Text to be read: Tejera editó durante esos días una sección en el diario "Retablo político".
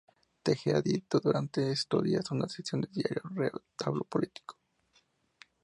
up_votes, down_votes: 0, 2